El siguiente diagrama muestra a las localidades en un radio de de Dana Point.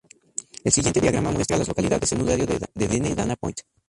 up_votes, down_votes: 0, 2